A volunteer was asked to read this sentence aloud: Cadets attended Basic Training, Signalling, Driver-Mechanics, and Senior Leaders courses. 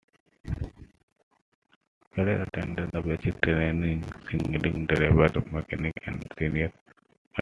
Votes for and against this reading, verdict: 0, 2, rejected